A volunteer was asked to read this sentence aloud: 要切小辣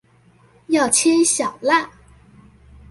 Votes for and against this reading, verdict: 2, 0, accepted